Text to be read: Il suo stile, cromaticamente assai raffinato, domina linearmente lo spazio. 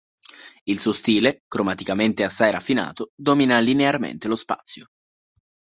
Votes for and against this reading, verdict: 2, 0, accepted